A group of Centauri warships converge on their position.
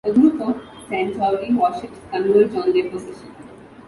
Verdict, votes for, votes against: accepted, 2, 1